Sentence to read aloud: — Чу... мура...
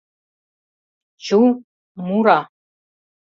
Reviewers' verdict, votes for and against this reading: accepted, 2, 0